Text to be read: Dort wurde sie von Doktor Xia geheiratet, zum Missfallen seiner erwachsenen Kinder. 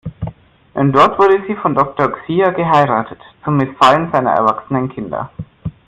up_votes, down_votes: 0, 2